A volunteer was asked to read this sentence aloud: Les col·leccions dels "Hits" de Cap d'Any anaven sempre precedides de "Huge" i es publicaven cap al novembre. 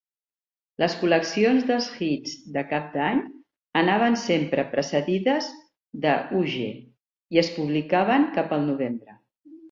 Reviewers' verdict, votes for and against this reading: accepted, 2, 0